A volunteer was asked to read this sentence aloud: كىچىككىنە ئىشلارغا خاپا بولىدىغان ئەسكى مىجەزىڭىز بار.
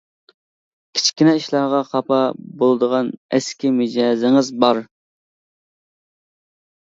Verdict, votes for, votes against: accepted, 2, 0